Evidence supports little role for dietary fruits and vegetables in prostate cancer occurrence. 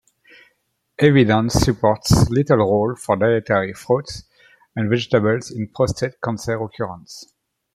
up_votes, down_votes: 1, 2